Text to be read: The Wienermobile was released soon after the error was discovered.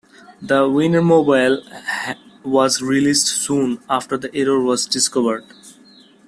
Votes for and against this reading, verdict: 2, 1, accepted